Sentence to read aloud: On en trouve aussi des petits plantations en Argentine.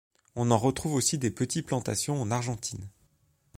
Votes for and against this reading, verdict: 0, 2, rejected